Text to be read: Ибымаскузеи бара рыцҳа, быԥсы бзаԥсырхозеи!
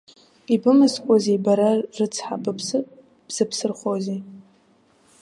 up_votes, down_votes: 1, 2